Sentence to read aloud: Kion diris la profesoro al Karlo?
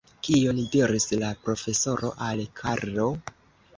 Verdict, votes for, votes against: rejected, 0, 2